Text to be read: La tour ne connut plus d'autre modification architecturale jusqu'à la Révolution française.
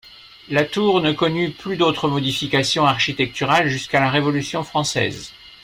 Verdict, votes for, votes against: accepted, 2, 0